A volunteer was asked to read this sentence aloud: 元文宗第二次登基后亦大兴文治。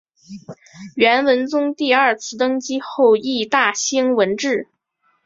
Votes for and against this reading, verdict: 2, 0, accepted